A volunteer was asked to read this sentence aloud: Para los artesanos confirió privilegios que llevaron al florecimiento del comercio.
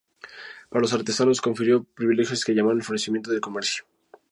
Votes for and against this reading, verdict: 0, 2, rejected